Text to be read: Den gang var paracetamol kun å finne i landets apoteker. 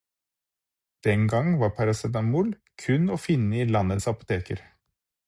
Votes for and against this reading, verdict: 4, 0, accepted